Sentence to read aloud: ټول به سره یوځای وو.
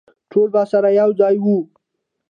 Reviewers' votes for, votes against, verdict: 1, 2, rejected